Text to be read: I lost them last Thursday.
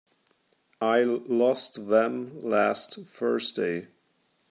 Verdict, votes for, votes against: rejected, 0, 2